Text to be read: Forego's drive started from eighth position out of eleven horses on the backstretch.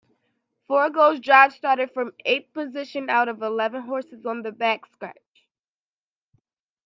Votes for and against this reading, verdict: 2, 1, accepted